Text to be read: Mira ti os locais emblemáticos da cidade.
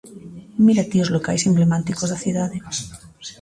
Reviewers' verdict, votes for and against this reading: rejected, 1, 2